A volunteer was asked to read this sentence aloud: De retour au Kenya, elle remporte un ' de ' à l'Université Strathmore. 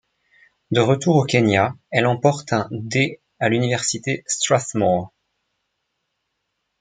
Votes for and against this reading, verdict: 0, 2, rejected